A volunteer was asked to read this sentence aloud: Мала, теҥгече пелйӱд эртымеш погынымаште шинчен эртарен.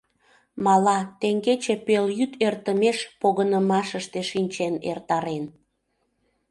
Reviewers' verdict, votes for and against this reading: rejected, 0, 2